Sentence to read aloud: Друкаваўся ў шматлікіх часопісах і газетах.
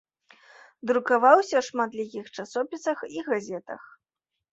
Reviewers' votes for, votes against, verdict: 2, 0, accepted